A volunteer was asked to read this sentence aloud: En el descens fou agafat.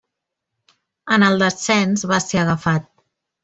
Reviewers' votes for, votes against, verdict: 0, 2, rejected